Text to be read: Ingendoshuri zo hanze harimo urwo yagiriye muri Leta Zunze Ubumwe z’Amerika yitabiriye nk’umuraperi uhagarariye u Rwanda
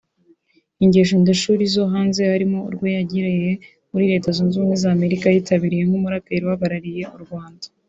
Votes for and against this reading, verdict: 1, 3, rejected